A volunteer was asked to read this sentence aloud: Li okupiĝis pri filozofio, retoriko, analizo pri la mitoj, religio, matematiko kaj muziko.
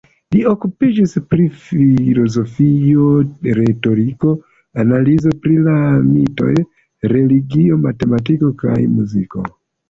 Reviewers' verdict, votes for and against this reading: accepted, 2, 0